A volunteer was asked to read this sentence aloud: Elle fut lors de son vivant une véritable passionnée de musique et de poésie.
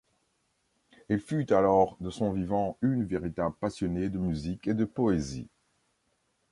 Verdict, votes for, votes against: rejected, 0, 2